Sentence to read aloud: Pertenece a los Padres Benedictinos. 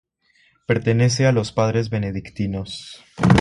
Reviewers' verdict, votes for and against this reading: accepted, 3, 0